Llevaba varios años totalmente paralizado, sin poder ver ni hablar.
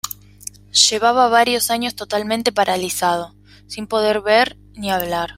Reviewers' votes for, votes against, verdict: 2, 0, accepted